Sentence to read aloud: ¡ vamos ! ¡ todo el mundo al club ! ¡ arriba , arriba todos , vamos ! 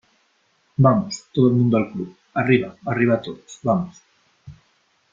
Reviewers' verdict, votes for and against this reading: accepted, 2, 0